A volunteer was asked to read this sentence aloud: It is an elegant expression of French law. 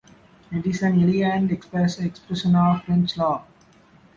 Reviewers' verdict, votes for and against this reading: rejected, 0, 2